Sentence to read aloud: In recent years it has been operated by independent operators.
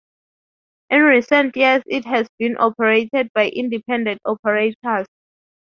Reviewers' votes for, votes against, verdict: 2, 0, accepted